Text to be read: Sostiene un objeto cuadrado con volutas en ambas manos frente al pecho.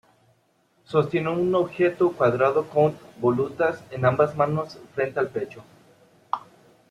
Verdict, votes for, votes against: accepted, 2, 0